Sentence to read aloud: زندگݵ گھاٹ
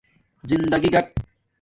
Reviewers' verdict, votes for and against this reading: accepted, 2, 0